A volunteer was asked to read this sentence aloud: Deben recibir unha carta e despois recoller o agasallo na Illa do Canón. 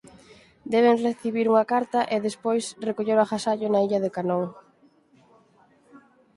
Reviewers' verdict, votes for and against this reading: accepted, 4, 0